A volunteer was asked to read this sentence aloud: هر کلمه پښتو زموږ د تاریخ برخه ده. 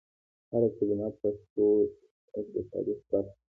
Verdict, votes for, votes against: accepted, 2, 0